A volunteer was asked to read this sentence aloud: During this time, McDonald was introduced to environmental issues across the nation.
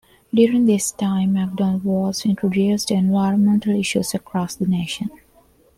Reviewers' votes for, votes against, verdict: 0, 2, rejected